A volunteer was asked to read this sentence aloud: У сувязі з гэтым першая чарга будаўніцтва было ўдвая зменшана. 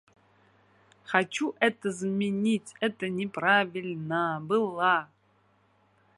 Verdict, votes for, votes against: rejected, 0, 2